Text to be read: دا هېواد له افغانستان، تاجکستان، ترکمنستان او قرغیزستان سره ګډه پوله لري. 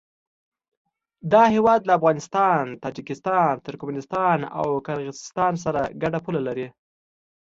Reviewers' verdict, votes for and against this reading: accepted, 2, 0